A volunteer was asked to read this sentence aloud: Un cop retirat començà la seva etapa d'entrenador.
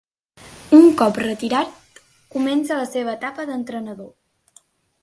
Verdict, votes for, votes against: accepted, 4, 0